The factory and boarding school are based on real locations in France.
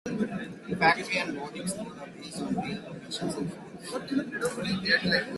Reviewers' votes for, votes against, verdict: 1, 2, rejected